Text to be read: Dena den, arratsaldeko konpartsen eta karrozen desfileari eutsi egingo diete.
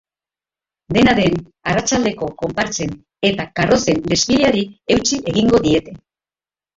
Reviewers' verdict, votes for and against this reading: accepted, 2, 1